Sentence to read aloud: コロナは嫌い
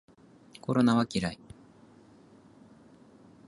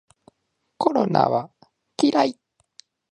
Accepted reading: first